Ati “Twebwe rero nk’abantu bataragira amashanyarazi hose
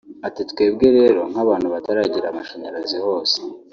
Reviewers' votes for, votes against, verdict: 2, 1, accepted